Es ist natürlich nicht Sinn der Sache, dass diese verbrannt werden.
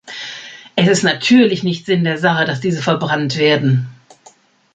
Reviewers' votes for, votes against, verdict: 2, 0, accepted